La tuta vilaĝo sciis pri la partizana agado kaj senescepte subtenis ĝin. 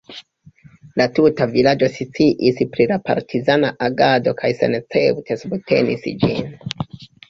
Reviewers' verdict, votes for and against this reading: rejected, 0, 2